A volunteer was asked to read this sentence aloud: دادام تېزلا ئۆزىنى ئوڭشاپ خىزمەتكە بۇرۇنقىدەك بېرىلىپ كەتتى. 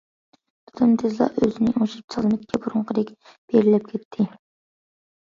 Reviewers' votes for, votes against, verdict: 1, 2, rejected